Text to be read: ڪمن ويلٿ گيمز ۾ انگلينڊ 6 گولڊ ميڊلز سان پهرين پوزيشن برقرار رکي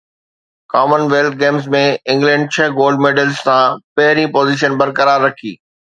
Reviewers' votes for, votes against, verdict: 0, 2, rejected